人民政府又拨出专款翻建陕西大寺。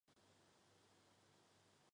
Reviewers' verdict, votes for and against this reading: rejected, 0, 2